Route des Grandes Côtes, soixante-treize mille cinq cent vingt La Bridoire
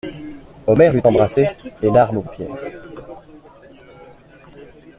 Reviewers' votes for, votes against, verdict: 0, 2, rejected